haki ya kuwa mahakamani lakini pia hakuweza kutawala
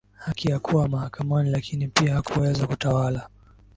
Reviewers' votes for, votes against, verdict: 1, 2, rejected